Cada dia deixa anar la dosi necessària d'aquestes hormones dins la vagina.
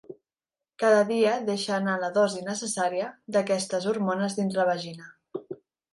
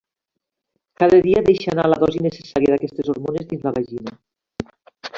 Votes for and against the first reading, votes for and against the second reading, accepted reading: 3, 0, 0, 2, first